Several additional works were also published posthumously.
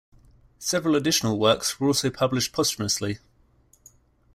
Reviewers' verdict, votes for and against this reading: accepted, 2, 0